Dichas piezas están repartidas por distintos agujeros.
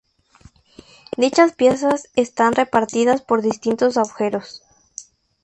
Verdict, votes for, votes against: rejected, 0, 2